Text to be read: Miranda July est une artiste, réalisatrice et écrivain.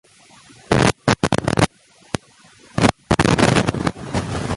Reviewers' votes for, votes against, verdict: 0, 2, rejected